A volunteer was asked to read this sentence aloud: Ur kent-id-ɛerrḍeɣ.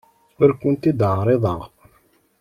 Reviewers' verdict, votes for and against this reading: rejected, 1, 2